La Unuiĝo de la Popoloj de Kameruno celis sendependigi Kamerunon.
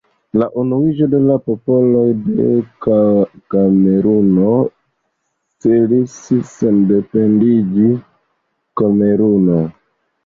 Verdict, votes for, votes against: rejected, 0, 2